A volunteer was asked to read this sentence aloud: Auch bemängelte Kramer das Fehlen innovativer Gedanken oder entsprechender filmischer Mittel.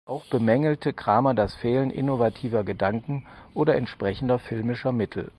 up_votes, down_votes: 4, 0